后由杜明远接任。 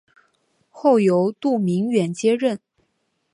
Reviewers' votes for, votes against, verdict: 2, 0, accepted